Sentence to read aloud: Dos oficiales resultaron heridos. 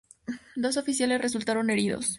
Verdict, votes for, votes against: accepted, 2, 0